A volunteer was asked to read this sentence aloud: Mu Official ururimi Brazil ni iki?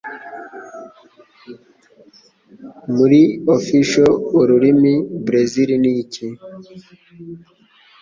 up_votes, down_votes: 1, 2